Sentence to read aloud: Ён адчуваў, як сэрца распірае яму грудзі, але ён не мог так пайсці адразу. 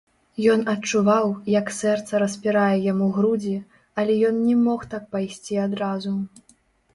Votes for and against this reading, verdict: 1, 2, rejected